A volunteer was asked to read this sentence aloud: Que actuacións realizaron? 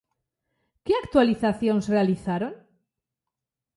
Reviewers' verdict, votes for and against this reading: rejected, 0, 2